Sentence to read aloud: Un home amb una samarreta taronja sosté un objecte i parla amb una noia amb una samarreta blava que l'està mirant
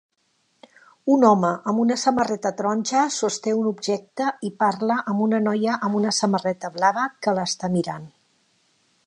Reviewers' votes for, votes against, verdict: 2, 0, accepted